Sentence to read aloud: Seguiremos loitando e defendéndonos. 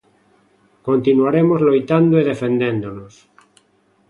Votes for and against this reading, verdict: 0, 2, rejected